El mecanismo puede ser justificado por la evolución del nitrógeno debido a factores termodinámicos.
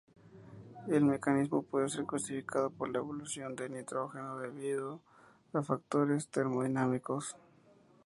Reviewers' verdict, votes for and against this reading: accepted, 2, 0